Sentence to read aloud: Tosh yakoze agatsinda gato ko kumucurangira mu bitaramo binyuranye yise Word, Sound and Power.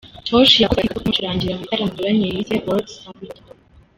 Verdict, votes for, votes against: rejected, 0, 3